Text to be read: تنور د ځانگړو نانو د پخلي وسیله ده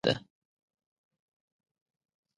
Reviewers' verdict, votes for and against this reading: rejected, 0, 2